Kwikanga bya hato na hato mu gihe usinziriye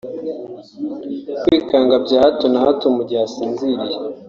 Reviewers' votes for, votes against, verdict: 0, 2, rejected